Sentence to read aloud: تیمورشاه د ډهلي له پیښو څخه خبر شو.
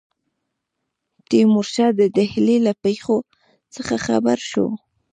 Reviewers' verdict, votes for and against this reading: accepted, 2, 1